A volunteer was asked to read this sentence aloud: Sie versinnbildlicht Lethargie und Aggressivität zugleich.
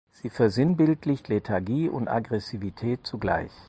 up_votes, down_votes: 4, 0